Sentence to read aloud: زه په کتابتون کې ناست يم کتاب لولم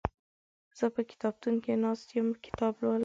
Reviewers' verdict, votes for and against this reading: accepted, 2, 1